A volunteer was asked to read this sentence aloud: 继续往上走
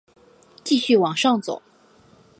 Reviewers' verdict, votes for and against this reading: accepted, 2, 0